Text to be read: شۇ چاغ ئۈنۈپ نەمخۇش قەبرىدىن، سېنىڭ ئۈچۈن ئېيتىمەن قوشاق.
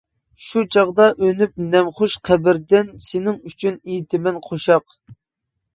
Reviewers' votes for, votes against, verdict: 1, 2, rejected